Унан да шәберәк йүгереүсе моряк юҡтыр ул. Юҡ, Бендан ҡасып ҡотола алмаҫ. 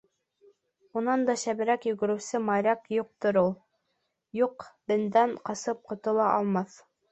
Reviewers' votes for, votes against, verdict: 1, 2, rejected